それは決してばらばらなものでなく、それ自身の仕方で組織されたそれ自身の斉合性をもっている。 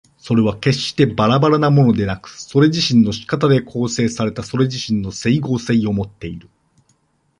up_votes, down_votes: 0, 2